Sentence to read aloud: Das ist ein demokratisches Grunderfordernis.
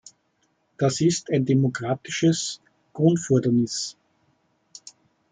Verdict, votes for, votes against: rejected, 0, 2